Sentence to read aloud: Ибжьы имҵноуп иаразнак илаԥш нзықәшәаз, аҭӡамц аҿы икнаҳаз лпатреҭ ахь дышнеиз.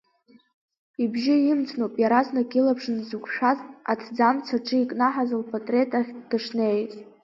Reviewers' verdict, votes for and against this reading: rejected, 1, 2